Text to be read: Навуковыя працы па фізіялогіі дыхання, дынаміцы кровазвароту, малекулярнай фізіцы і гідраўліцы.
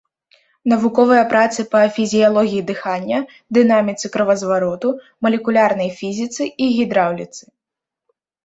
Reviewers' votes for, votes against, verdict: 2, 0, accepted